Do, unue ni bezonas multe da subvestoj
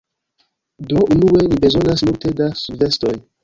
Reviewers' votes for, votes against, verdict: 0, 2, rejected